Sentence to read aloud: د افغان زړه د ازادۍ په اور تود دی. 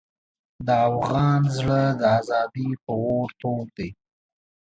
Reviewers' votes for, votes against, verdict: 2, 0, accepted